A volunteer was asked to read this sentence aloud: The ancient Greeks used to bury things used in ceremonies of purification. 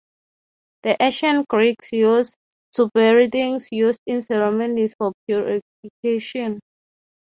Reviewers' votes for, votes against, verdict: 0, 3, rejected